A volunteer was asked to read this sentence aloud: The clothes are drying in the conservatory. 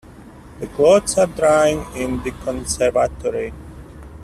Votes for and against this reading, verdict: 2, 0, accepted